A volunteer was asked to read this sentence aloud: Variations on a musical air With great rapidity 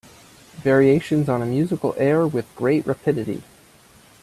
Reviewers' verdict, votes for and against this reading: accepted, 2, 0